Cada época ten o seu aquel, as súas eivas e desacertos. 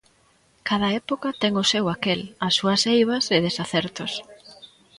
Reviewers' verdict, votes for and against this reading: rejected, 0, 2